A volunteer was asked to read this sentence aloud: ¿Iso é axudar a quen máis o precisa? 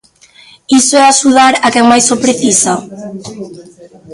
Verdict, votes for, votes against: rejected, 0, 2